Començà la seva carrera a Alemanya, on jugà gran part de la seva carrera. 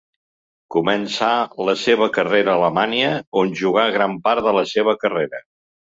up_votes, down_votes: 2, 0